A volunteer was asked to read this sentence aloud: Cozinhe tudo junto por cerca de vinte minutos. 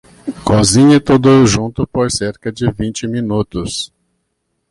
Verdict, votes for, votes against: accepted, 2, 0